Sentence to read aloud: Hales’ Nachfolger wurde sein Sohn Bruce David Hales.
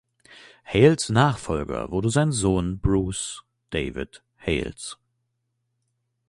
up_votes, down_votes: 2, 0